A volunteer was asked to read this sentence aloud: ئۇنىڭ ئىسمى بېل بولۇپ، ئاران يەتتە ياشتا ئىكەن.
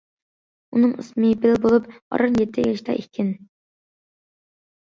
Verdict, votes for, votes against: accepted, 2, 1